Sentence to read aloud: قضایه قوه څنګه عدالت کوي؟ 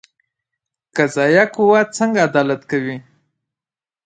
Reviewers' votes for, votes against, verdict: 2, 0, accepted